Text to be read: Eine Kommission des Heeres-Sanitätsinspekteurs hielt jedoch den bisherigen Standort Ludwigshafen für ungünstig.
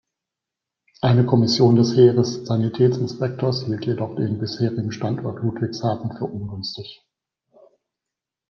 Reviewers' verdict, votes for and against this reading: accepted, 2, 0